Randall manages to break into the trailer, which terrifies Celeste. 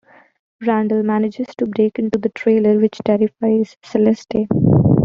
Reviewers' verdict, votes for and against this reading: rejected, 0, 2